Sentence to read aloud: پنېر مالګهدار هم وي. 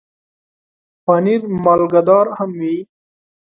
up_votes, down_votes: 2, 0